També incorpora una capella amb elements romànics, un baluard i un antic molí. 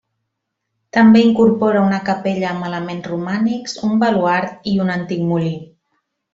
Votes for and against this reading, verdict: 2, 0, accepted